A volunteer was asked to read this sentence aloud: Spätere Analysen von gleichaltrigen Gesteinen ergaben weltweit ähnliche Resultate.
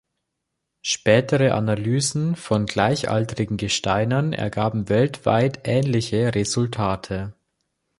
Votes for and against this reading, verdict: 4, 0, accepted